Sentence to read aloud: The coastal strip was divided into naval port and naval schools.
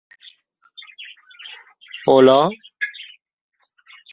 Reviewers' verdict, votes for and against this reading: rejected, 1, 2